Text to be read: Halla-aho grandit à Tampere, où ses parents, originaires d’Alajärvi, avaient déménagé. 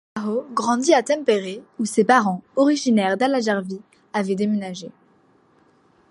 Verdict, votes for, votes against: rejected, 0, 2